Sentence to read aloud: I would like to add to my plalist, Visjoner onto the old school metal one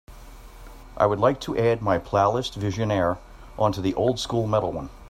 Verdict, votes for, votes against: accepted, 2, 0